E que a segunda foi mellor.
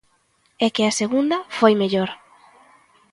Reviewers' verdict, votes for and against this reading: accepted, 2, 0